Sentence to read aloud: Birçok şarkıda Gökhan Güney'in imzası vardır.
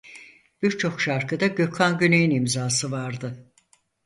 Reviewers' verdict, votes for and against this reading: rejected, 0, 4